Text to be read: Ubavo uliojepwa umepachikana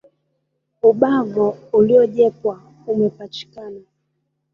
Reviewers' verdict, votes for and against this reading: accepted, 2, 0